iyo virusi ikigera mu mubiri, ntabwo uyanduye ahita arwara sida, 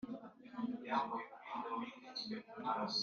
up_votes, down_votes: 1, 2